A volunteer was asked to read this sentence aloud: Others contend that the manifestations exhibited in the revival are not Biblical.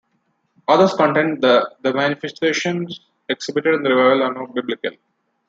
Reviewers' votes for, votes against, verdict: 1, 2, rejected